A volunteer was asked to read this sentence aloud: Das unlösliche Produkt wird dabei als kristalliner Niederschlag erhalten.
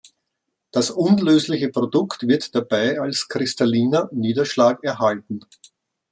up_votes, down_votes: 2, 0